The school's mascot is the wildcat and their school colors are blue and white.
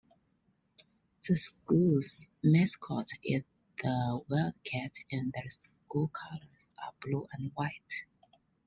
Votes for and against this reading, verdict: 2, 1, accepted